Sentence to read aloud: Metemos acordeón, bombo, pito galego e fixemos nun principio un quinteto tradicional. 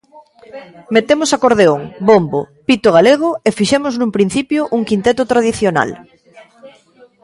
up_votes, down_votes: 1, 2